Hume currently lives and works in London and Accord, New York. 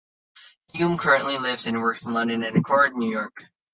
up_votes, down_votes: 2, 0